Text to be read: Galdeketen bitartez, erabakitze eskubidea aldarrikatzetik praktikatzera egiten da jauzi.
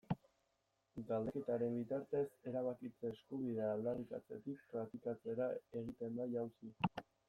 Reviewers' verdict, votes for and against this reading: rejected, 0, 2